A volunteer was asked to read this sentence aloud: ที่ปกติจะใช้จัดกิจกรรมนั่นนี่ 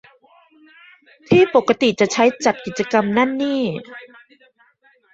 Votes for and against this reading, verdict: 0, 2, rejected